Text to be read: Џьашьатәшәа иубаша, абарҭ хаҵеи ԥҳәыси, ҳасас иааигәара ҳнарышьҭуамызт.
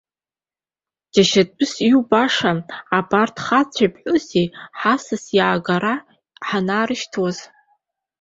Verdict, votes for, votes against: rejected, 0, 2